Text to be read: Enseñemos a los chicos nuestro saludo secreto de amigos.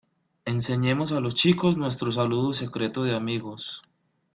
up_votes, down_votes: 2, 0